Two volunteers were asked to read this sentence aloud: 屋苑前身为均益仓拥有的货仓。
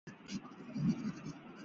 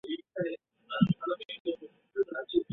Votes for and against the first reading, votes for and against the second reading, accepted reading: 3, 2, 0, 2, first